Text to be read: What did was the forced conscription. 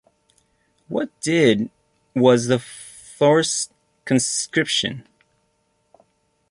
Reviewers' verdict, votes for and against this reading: rejected, 1, 2